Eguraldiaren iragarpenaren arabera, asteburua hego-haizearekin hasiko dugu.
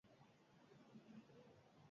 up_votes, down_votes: 0, 4